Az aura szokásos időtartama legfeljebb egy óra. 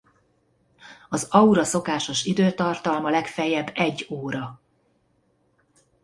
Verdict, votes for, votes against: rejected, 1, 2